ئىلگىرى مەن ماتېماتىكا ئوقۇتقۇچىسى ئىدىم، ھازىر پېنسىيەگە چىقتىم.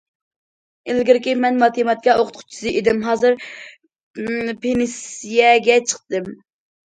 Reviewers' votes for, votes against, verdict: 0, 2, rejected